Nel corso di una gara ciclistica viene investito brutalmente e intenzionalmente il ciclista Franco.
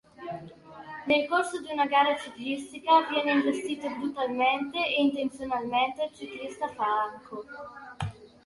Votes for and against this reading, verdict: 1, 2, rejected